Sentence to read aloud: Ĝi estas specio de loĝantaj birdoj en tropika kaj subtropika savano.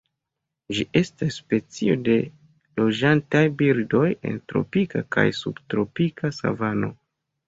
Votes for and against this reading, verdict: 2, 0, accepted